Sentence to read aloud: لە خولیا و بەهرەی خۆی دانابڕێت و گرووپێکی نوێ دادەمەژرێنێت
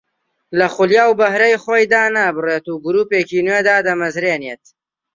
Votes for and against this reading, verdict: 0, 2, rejected